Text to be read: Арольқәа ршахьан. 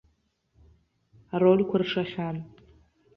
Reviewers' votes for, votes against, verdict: 1, 2, rejected